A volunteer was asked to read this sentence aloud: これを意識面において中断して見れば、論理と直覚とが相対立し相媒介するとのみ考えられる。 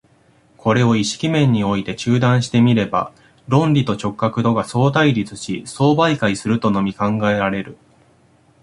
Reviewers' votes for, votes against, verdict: 2, 0, accepted